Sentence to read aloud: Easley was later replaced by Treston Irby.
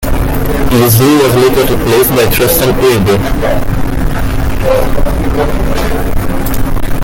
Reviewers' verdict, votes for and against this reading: rejected, 0, 2